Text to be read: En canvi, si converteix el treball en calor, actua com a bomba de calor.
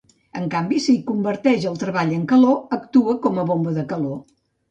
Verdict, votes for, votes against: accepted, 3, 0